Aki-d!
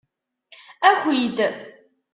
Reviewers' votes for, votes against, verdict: 2, 0, accepted